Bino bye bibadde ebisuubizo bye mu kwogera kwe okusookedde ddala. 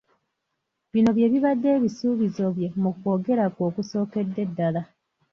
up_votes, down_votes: 1, 2